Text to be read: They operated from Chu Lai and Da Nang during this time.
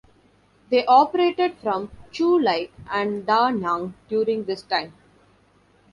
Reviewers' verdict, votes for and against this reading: accepted, 2, 0